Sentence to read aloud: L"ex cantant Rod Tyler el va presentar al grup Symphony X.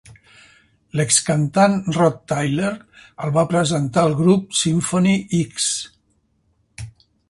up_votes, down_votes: 2, 0